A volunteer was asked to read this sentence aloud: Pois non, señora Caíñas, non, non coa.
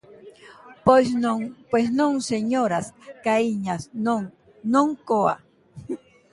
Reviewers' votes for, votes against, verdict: 0, 2, rejected